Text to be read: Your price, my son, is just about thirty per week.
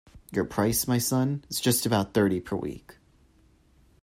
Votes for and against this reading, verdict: 2, 0, accepted